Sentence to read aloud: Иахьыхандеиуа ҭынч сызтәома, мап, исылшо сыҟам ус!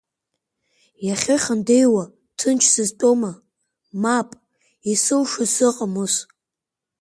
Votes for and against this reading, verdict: 3, 1, accepted